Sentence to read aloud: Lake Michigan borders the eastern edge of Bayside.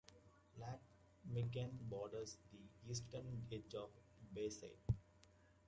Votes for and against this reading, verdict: 2, 1, accepted